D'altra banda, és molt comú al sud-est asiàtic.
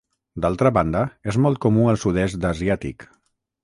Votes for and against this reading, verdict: 3, 6, rejected